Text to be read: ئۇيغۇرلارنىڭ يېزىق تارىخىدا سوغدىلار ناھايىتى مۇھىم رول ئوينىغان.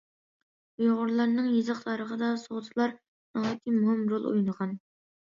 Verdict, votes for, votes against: accepted, 2, 1